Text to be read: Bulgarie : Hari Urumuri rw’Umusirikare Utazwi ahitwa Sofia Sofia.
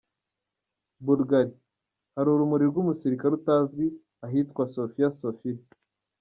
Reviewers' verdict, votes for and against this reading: accepted, 2, 0